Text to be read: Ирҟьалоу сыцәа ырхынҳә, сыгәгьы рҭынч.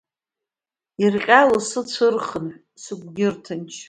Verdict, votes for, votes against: rejected, 0, 2